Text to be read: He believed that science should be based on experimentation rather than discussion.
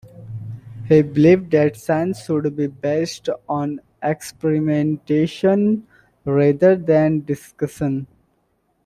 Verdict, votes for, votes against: rejected, 1, 2